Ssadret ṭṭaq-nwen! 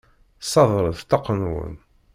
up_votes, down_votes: 0, 2